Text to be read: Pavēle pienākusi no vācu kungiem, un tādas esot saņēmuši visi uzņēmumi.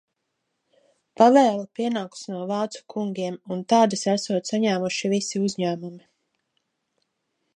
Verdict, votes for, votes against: accepted, 2, 0